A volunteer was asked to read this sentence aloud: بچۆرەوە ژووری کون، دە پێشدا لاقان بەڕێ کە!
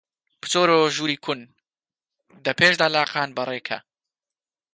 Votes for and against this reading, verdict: 3, 0, accepted